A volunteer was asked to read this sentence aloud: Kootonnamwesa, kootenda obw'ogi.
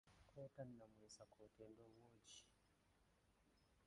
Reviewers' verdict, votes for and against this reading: rejected, 0, 2